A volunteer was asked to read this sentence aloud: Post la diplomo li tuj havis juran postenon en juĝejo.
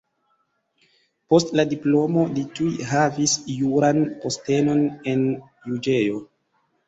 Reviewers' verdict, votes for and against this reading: accepted, 2, 1